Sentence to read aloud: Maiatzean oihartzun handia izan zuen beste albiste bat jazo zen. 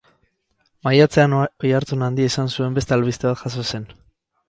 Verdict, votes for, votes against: accepted, 4, 0